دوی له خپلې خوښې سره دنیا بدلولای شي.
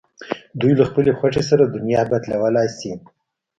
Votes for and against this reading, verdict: 2, 1, accepted